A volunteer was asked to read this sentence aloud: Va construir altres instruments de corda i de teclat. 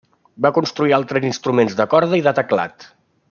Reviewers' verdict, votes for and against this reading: accepted, 3, 1